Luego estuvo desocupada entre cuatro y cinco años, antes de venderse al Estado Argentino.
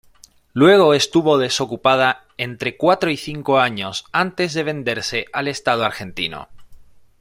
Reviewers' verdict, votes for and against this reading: accepted, 2, 0